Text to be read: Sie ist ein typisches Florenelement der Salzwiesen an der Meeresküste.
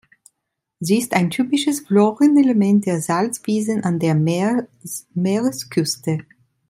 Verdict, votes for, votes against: rejected, 0, 2